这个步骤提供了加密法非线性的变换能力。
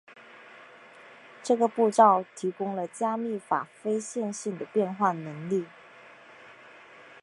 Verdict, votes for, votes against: accepted, 2, 0